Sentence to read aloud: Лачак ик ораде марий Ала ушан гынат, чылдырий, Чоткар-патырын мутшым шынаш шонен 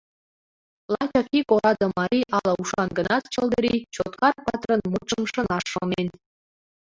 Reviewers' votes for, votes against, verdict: 1, 2, rejected